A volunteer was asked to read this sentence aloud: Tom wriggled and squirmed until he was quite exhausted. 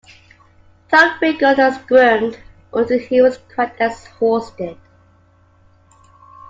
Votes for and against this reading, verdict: 2, 1, accepted